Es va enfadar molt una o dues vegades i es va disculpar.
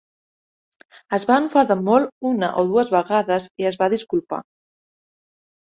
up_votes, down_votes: 4, 0